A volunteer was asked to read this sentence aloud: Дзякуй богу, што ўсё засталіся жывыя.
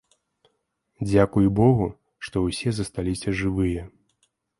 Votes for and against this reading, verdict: 0, 2, rejected